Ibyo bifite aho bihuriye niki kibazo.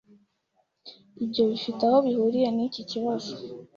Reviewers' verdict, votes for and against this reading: accepted, 2, 0